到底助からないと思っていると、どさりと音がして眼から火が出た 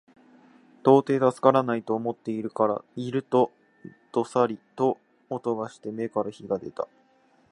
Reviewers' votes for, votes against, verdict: 2, 3, rejected